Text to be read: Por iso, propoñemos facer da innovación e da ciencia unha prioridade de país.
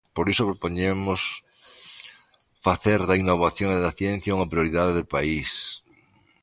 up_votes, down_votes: 2, 0